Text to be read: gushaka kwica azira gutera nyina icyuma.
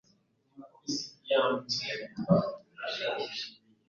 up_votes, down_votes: 2, 0